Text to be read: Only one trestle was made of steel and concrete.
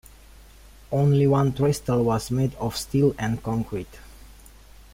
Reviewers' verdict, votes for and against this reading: accepted, 2, 0